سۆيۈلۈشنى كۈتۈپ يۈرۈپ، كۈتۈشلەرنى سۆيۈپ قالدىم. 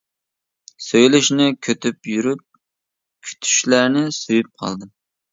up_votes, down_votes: 1, 2